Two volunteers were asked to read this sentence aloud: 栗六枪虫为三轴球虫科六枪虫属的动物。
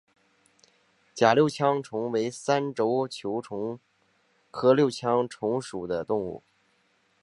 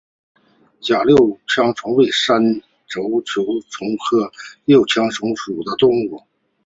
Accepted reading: second